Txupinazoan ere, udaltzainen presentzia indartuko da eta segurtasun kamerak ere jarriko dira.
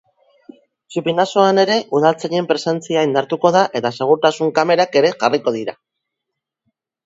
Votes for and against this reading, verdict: 2, 0, accepted